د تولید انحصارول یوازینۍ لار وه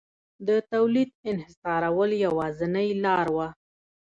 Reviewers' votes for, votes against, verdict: 2, 0, accepted